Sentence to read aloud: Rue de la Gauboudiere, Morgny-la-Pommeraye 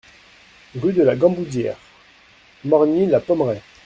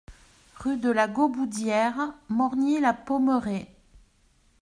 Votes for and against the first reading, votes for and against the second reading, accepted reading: 0, 2, 2, 0, second